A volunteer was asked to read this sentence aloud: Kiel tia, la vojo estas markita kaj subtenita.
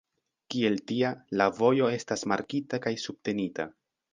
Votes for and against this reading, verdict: 2, 0, accepted